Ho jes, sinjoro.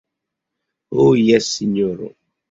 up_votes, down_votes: 0, 2